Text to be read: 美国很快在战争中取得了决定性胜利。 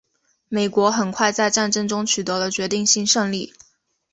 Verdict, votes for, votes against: accepted, 4, 0